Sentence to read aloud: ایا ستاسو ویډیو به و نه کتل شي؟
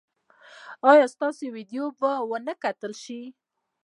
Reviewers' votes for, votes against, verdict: 1, 2, rejected